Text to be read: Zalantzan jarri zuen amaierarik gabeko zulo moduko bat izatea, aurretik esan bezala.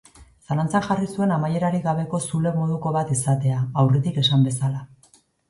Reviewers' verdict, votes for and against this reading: accepted, 2, 0